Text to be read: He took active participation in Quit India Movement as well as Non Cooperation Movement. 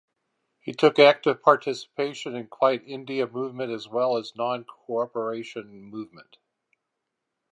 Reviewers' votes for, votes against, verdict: 0, 4, rejected